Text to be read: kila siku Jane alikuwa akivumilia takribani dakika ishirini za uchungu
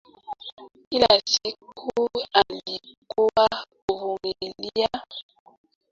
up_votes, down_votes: 0, 3